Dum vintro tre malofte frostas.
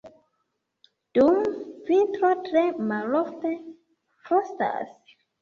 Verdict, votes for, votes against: accepted, 2, 1